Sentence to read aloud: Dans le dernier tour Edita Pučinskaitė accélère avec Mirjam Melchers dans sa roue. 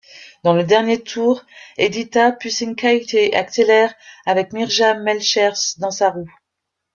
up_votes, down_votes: 2, 1